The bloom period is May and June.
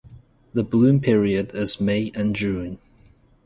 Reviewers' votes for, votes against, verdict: 2, 0, accepted